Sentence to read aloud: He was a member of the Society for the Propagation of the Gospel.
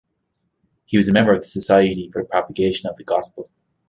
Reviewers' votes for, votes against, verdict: 2, 0, accepted